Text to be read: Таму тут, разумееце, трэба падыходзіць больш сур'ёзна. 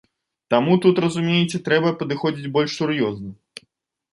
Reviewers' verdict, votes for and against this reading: accepted, 2, 0